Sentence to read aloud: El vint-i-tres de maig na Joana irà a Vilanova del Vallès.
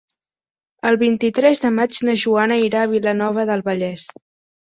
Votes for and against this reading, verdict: 3, 0, accepted